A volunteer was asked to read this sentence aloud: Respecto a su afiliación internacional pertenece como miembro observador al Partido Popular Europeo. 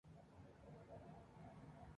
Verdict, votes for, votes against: rejected, 0, 2